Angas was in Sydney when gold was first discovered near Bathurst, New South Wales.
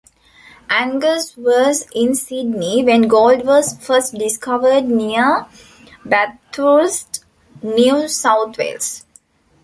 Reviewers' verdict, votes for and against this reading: rejected, 0, 2